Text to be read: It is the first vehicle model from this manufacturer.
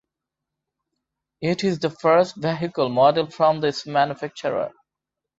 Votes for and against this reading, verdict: 2, 0, accepted